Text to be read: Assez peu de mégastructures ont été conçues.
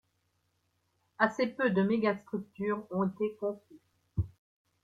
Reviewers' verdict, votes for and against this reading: accepted, 2, 1